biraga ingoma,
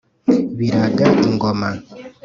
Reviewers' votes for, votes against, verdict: 2, 0, accepted